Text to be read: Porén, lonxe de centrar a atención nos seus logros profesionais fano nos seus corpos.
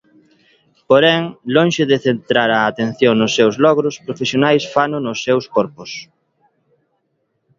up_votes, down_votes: 2, 0